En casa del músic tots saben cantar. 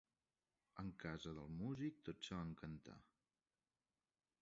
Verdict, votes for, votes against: rejected, 0, 2